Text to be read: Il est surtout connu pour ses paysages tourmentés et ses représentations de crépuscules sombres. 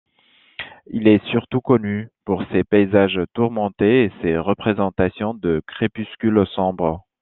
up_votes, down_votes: 2, 0